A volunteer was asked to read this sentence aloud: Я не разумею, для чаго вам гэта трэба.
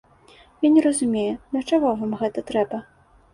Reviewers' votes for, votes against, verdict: 2, 0, accepted